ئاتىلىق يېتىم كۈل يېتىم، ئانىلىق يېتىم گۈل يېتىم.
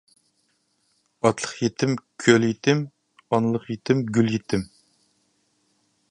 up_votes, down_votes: 0, 2